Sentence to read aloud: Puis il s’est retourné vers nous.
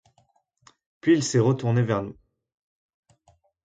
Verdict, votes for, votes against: accepted, 2, 0